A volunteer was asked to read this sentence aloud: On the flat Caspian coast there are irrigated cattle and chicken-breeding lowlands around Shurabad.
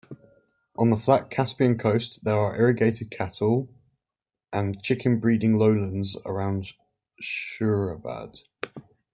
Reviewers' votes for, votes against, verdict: 1, 2, rejected